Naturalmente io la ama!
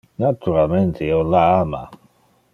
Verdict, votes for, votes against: accepted, 2, 0